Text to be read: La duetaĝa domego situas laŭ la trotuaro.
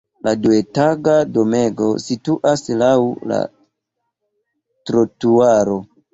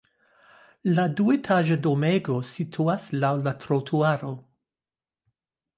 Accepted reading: second